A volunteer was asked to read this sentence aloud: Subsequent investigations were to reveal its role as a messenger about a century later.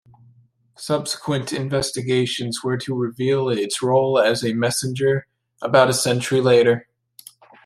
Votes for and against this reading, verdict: 2, 1, accepted